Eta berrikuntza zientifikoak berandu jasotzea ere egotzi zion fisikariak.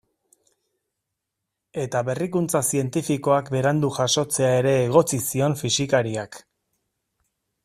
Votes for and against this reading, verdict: 2, 0, accepted